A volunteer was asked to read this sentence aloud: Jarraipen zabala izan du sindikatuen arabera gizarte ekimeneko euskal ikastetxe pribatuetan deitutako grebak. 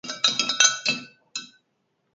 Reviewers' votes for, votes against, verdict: 2, 2, rejected